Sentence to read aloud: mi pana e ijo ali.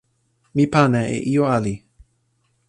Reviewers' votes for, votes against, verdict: 2, 0, accepted